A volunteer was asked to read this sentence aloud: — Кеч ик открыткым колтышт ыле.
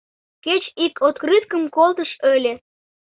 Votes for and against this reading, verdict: 1, 2, rejected